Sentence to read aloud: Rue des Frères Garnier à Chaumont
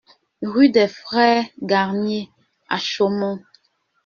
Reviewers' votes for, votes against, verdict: 1, 2, rejected